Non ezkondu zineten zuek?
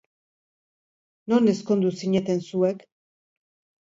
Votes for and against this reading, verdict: 2, 0, accepted